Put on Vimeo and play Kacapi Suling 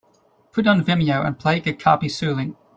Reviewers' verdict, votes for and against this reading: accepted, 2, 0